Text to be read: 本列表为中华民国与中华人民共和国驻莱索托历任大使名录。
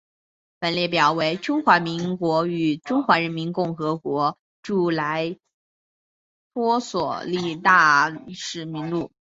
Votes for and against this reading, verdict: 1, 2, rejected